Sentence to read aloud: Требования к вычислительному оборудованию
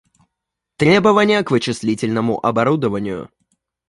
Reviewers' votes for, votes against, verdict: 2, 0, accepted